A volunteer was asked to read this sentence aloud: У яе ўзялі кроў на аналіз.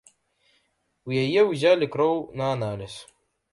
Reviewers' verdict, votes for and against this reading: accepted, 2, 0